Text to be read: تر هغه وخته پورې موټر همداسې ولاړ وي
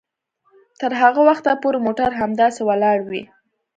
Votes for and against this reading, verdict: 2, 0, accepted